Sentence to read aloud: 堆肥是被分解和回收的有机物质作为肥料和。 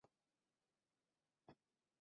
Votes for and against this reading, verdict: 0, 3, rejected